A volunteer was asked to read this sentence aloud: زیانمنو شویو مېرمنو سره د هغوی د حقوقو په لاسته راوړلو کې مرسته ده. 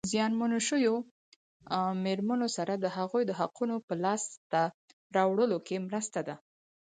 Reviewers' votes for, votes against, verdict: 4, 0, accepted